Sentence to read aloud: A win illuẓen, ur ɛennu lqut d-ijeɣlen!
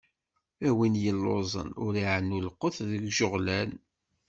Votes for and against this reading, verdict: 1, 2, rejected